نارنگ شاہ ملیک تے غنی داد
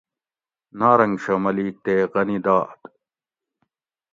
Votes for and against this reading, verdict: 2, 0, accepted